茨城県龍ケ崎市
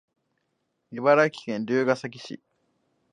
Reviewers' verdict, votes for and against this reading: accepted, 2, 0